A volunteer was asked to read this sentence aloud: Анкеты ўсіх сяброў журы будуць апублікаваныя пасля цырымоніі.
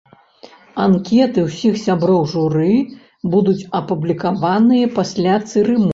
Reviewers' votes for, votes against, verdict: 0, 2, rejected